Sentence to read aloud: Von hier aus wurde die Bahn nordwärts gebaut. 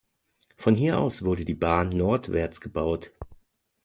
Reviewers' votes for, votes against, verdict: 2, 0, accepted